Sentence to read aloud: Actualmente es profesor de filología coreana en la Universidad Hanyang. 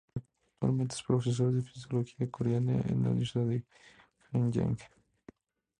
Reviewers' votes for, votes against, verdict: 0, 2, rejected